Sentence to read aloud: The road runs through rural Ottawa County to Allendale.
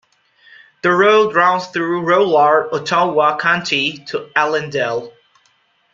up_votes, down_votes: 2, 0